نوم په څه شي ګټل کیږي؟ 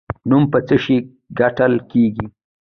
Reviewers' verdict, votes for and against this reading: rejected, 1, 2